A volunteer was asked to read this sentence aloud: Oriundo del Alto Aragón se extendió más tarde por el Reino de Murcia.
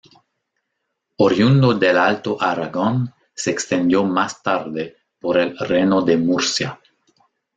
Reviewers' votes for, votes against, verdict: 0, 2, rejected